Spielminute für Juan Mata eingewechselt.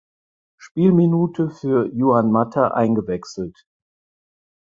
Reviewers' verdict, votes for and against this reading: rejected, 2, 4